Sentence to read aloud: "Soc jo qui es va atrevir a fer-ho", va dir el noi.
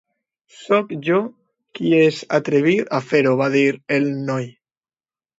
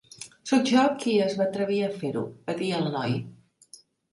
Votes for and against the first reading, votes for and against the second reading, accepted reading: 0, 2, 3, 0, second